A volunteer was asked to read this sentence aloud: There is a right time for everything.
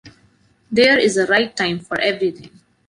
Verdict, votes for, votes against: accepted, 2, 0